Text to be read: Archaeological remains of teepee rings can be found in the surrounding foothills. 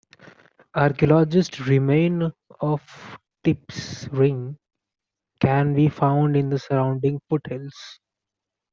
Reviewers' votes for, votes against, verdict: 1, 2, rejected